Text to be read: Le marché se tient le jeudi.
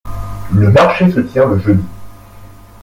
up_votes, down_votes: 3, 0